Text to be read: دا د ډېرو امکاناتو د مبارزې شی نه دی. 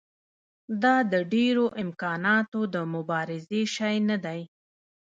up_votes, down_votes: 1, 2